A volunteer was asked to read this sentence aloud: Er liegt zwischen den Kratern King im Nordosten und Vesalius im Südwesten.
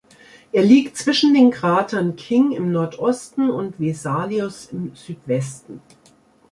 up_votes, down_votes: 2, 0